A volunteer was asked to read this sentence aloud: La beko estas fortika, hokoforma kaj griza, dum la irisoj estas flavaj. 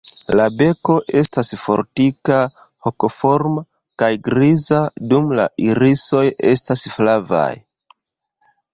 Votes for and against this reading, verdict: 2, 0, accepted